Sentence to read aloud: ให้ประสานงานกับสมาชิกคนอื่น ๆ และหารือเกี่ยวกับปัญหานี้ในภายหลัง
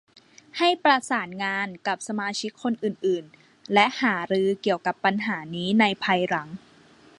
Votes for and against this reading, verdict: 2, 0, accepted